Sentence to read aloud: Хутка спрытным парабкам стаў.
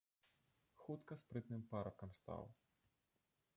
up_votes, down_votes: 1, 2